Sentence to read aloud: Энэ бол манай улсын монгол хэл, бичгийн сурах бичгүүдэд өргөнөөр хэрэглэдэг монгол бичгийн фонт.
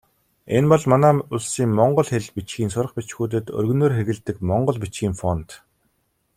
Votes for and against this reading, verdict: 2, 0, accepted